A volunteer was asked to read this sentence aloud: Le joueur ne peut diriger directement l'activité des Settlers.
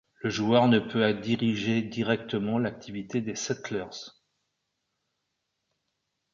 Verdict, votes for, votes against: rejected, 0, 2